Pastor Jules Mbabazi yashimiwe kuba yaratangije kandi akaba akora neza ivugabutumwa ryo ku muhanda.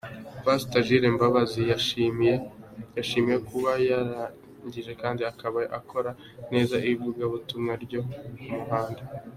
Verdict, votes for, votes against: accepted, 2, 0